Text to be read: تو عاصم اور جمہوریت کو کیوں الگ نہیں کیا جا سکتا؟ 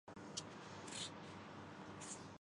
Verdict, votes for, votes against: rejected, 0, 2